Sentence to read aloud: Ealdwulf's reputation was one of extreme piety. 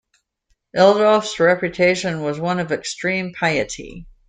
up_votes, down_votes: 2, 0